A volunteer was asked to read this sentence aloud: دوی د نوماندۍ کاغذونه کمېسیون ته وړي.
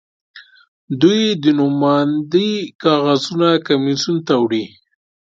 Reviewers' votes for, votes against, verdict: 2, 0, accepted